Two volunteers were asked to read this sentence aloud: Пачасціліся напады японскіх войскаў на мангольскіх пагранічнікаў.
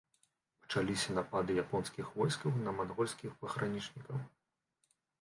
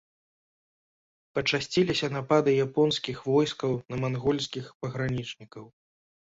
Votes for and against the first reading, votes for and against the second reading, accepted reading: 0, 2, 2, 0, second